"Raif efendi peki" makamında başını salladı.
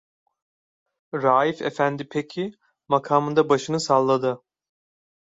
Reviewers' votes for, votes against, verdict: 2, 0, accepted